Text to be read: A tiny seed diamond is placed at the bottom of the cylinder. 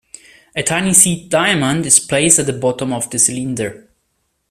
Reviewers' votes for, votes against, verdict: 2, 0, accepted